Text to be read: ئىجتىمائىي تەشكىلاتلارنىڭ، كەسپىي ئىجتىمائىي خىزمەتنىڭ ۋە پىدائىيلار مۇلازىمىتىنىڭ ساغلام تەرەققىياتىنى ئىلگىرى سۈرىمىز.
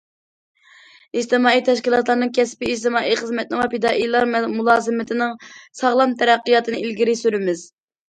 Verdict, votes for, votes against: rejected, 1, 2